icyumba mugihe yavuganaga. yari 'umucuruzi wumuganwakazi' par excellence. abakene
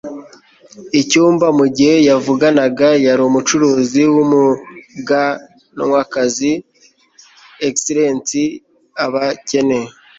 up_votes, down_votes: 1, 2